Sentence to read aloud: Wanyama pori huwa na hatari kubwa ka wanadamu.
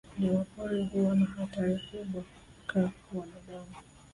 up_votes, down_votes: 0, 2